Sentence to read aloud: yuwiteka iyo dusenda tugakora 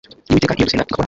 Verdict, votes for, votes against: rejected, 0, 2